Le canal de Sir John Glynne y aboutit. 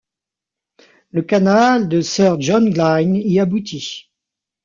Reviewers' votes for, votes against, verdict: 2, 0, accepted